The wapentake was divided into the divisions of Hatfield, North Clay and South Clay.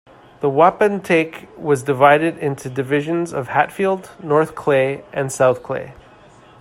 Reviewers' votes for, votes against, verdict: 1, 2, rejected